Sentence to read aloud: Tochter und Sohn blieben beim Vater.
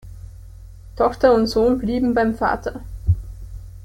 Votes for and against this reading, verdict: 2, 0, accepted